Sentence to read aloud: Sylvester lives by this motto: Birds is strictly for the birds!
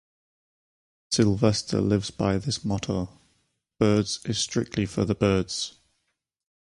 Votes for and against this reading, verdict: 2, 0, accepted